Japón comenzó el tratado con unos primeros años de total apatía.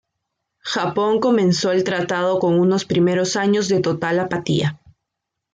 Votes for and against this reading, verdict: 2, 0, accepted